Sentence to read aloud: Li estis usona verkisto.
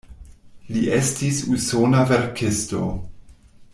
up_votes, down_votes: 2, 0